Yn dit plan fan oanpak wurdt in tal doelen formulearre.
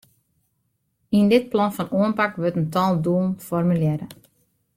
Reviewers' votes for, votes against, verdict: 2, 0, accepted